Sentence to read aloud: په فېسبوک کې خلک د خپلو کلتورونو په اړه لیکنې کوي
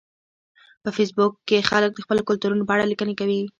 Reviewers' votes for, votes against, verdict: 2, 0, accepted